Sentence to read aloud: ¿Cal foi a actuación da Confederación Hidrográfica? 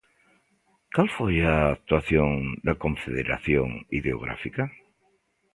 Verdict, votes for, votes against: rejected, 0, 2